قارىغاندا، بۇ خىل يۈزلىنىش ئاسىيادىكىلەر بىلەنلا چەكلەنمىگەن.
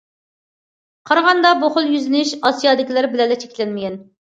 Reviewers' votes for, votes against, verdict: 2, 0, accepted